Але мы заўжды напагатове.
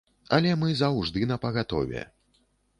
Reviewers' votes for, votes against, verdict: 2, 0, accepted